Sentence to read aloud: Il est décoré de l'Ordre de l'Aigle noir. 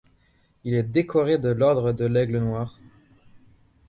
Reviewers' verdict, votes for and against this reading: accepted, 2, 0